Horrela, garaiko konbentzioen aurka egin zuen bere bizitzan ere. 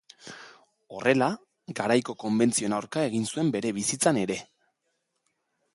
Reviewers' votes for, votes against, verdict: 2, 0, accepted